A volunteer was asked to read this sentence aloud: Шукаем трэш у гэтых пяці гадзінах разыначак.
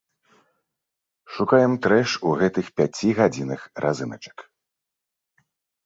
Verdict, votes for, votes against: accepted, 2, 0